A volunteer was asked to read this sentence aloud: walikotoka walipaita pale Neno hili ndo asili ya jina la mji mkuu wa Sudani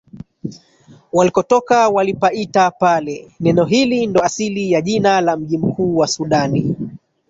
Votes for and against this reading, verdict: 1, 2, rejected